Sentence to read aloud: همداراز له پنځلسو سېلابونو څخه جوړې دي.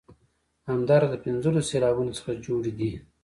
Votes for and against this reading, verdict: 2, 0, accepted